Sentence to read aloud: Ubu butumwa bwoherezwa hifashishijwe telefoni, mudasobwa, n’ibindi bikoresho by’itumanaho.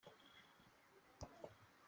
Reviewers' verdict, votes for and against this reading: rejected, 0, 2